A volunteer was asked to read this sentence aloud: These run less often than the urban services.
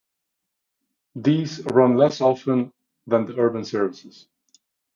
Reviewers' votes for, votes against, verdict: 2, 0, accepted